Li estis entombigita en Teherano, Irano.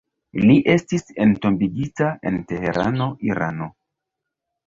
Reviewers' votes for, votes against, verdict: 0, 2, rejected